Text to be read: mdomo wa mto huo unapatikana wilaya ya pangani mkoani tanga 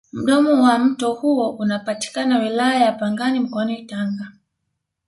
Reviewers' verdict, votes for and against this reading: accepted, 2, 0